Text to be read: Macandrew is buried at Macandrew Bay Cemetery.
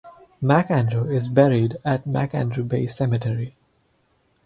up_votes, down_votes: 4, 0